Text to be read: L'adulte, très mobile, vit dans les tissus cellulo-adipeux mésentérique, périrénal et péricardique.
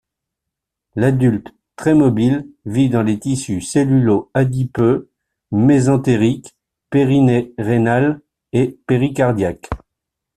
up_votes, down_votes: 1, 2